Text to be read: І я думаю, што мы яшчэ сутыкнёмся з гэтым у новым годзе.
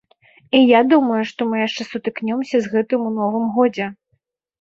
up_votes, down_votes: 2, 0